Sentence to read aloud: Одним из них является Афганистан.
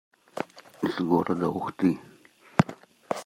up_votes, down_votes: 0, 2